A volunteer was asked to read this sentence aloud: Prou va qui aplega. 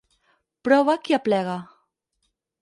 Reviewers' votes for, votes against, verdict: 2, 4, rejected